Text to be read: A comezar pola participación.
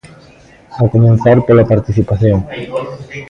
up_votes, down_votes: 0, 2